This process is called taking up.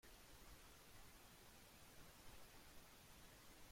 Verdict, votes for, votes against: rejected, 0, 3